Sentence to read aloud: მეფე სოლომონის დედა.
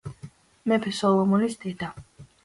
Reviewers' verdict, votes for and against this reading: accepted, 2, 0